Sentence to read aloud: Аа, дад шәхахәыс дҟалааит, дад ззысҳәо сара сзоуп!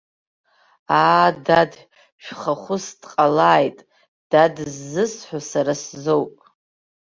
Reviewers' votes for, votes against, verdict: 2, 0, accepted